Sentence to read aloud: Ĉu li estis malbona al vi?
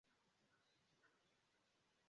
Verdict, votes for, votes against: rejected, 0, 2